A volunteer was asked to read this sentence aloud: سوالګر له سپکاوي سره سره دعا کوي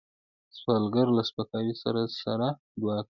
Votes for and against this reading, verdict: 2, 0, accepted